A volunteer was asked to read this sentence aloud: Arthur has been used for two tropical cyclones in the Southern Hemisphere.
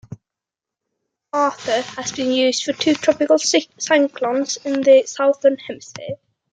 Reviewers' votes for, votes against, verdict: 1, 2, rejected